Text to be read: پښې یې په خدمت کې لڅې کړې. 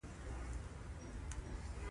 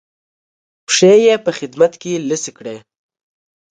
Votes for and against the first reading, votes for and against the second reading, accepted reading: 1, 2, 2, 1, second